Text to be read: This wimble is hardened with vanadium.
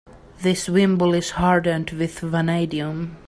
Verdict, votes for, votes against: accepted, 2, 0